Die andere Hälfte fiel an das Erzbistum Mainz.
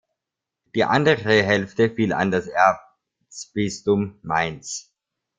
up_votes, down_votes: 1, 2